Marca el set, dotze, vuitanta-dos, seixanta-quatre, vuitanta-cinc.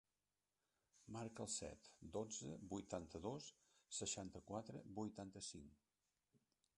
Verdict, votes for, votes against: rejected, 1, 2